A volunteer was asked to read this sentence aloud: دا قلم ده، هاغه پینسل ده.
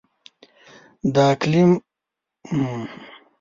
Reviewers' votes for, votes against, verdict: 1, 2, rejected